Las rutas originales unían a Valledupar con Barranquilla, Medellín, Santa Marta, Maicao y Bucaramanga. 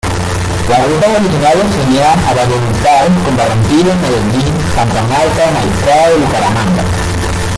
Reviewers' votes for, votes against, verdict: 0, 2, rejected